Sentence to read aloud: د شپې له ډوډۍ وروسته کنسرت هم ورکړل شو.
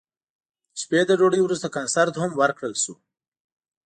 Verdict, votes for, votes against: accepted, 2, 0